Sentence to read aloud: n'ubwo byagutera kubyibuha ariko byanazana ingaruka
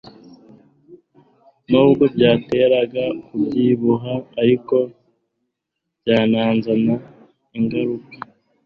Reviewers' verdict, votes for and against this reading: rejected, 1, 2